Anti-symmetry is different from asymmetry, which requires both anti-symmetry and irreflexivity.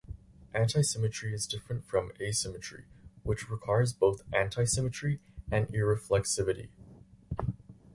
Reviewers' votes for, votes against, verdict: 2, 2, rejected